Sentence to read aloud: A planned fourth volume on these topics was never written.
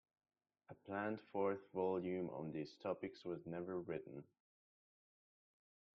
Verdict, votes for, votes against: rejected, 0, 2